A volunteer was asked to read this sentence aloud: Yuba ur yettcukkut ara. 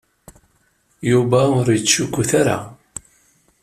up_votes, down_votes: 2, 0